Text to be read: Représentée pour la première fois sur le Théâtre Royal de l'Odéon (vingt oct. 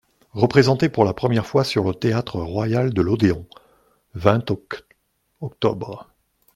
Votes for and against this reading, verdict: 0, 2, rejected